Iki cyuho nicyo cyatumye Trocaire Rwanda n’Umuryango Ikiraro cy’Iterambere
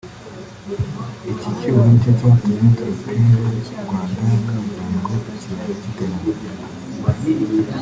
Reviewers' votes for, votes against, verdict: 2, 3, rejected